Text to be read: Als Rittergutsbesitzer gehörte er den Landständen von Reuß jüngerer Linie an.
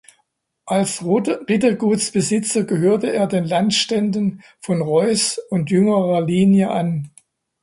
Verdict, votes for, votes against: rejected, 0, 2